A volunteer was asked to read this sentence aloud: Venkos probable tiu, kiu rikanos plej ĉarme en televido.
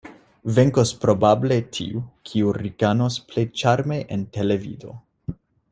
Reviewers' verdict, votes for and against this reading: accepted, 2, 0